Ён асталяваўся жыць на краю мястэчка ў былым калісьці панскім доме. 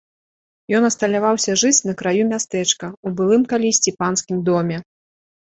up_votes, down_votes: 2, 0